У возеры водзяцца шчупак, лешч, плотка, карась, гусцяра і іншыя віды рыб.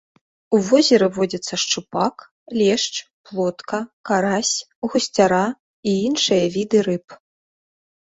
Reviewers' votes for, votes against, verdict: 2, 0, accepted